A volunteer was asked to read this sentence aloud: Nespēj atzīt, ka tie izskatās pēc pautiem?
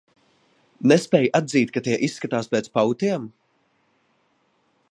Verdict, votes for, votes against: accepted, 2, 1